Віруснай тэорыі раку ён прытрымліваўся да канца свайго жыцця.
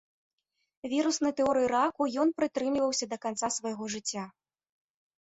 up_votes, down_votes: 2, 0